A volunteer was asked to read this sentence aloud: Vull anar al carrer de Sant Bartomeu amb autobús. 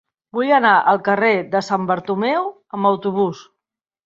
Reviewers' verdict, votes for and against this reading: accepted, 5, 0